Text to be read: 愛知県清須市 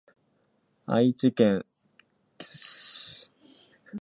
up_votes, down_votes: 0, 2